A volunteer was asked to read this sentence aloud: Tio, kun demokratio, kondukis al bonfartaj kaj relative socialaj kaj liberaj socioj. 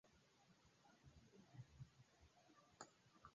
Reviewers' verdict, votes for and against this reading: rejected, 1, 2